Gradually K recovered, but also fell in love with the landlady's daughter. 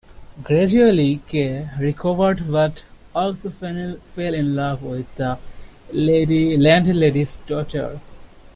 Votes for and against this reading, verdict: 0, 2, rejected